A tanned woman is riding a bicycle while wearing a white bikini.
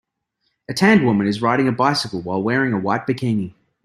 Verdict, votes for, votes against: accepted, 2, 0